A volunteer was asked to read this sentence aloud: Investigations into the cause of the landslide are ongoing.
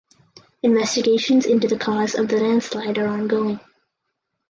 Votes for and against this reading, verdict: 4, 0, accepted